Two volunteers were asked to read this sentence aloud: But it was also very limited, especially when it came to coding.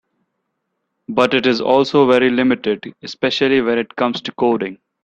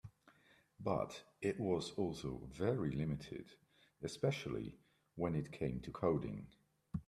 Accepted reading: second